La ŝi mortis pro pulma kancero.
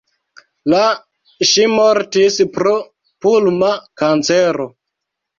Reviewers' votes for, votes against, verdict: 2, 0, accepted